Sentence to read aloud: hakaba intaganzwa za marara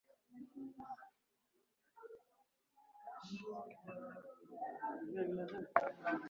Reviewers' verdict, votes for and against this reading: rejected, 1, 2